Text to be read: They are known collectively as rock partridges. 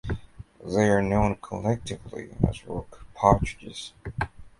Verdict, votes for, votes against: accepted, 2, 0